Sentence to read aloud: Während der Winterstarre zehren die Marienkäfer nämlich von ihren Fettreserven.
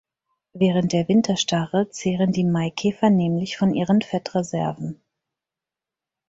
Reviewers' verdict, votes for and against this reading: rejected, 0, 4